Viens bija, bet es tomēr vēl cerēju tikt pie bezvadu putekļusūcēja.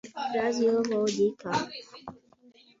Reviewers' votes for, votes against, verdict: 0, 2, rejected